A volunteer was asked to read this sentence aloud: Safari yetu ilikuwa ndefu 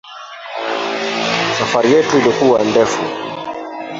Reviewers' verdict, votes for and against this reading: rejected, 0, 2